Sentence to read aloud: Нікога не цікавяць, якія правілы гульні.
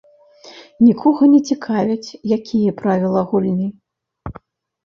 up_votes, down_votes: 1, 2